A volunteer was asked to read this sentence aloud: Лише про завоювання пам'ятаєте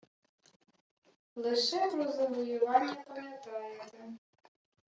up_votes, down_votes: 0, 2